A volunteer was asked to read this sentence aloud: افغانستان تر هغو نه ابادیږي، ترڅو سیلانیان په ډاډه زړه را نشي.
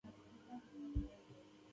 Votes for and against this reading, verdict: 1, 2, rejected